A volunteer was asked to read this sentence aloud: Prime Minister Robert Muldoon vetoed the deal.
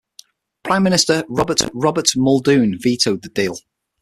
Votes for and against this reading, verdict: 3, 6, rejected